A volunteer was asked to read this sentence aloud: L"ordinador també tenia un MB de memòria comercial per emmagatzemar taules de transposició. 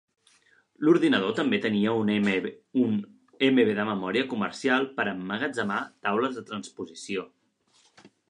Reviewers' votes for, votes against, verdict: 0, 2, rejected